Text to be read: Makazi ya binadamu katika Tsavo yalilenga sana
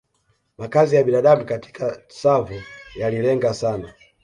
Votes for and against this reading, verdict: 2, 1, accepted